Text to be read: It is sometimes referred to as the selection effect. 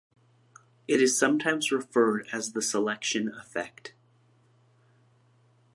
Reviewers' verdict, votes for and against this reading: rejected, 1, 2